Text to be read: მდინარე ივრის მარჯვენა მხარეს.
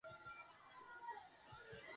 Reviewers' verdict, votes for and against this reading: rejected, 0, 2